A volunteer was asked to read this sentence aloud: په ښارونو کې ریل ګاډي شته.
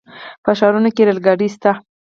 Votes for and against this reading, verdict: 4, 0, accepted